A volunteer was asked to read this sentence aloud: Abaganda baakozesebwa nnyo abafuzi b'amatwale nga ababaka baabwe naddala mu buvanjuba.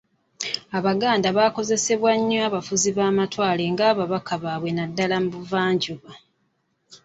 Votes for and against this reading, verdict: 2, 1, accepted